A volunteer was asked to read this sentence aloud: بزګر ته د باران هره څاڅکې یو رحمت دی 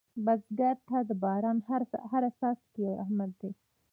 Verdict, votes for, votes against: rejected, 0, 2